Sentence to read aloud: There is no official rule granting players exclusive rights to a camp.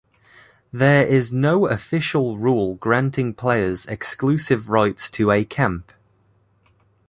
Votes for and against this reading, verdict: 2, 0, accepted